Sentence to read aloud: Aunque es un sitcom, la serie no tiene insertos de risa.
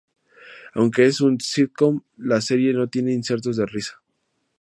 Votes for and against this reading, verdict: 2, 0, accepted